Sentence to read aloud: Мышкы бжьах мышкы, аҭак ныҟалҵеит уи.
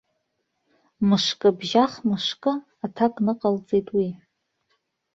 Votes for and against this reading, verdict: 2, 0, accepted